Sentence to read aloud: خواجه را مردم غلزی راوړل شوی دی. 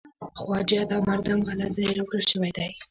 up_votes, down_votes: 1, 3